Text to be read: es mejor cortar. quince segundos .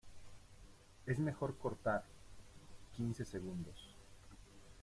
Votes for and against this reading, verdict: 2, 0, accepted